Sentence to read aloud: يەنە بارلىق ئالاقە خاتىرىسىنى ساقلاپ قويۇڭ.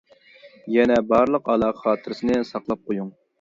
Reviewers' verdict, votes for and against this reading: accepted, 2, 0